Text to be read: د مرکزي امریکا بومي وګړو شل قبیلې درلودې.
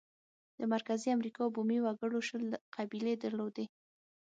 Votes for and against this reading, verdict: 6, 0, accepted